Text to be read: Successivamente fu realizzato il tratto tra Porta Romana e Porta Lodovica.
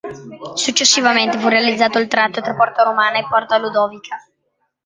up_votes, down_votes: 0, 2